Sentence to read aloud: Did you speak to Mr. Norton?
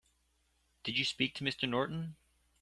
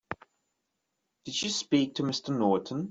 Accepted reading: first